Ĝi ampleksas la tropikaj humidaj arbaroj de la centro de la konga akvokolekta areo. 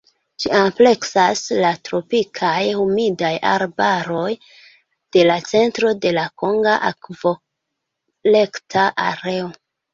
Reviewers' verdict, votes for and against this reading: accepted, 2, 1